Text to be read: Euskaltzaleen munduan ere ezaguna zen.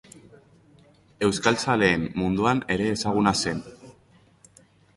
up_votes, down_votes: 2, 0